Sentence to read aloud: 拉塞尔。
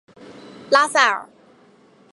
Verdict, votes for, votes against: accepted, 2, 0